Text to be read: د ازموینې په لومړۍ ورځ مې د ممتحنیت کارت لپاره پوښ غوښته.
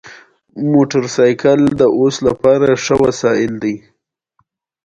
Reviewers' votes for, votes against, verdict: 0, 2, rejected